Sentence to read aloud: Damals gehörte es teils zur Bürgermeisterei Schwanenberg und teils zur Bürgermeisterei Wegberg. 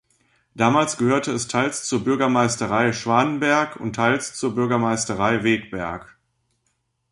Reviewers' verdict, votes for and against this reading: accepted, 2, 0